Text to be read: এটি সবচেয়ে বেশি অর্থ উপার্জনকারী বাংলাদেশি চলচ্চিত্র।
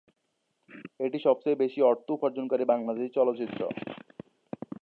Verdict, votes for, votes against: accepted, 2, 0